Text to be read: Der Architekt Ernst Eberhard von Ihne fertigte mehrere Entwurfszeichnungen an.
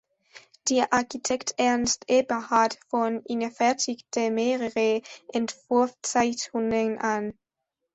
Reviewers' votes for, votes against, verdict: 2, 1, accepted